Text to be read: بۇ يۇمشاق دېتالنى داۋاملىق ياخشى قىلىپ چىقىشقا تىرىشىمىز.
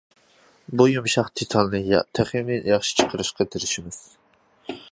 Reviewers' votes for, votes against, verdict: 0, 2, rejected